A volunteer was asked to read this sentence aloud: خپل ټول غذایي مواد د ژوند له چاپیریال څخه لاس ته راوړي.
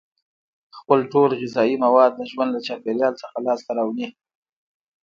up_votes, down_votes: 0, 2